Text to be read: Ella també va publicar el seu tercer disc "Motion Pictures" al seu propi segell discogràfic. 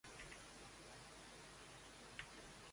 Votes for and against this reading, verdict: 0, 2, rejected